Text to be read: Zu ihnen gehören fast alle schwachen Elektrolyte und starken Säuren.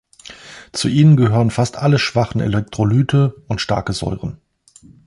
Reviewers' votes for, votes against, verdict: 0, 2, rejected